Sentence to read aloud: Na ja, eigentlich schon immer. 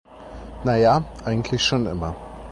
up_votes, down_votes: 2, 0